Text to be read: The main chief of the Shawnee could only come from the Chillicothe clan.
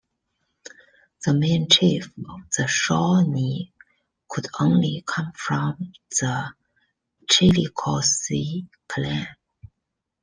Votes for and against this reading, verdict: 2, 1, accepted